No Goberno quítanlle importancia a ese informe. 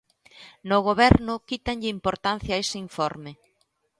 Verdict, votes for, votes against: accepted, 2, 0